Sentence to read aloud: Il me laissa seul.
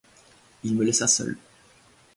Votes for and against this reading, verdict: 2, 0, accepted